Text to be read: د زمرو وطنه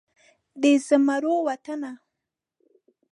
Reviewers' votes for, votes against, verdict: 4, 0, accepted